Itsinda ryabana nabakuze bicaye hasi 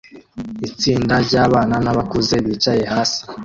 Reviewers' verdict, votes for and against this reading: accepted, 2, 1